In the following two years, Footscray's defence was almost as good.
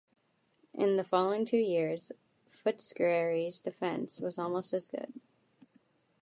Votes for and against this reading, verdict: 1, 2, rejected